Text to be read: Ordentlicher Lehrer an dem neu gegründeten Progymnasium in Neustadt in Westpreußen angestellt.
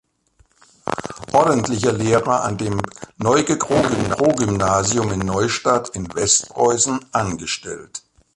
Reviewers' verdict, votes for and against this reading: rejected, 0, 2